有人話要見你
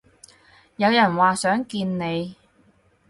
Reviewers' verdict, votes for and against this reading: rejected, 0, 4